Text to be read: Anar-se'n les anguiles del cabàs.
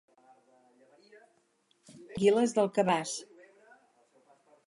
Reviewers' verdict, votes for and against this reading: rejected, 0, 4